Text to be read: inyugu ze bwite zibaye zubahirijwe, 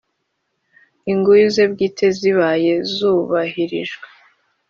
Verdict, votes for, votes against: accepted, 2, 1